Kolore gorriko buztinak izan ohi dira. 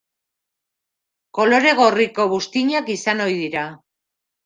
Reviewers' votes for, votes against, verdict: 2, 0, accepted